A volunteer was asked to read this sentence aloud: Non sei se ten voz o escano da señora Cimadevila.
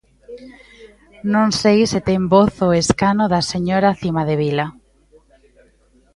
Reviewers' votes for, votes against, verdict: 2, 1, accepted